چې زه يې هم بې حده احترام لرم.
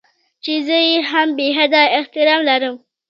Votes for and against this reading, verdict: 2, 1, accepted